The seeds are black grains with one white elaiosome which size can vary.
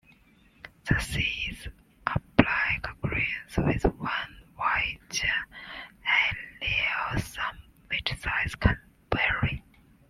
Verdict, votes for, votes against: rejected, 1, 2